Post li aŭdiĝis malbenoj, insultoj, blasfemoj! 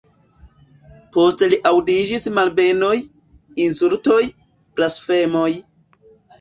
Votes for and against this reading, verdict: 0, 2, rejected